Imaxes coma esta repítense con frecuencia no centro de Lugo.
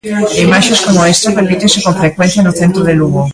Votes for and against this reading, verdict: 0, 2, rejected